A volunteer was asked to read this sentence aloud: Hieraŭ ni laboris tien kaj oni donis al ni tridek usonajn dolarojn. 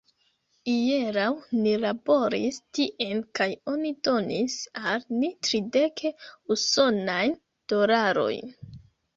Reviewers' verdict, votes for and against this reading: rejected, 0, 2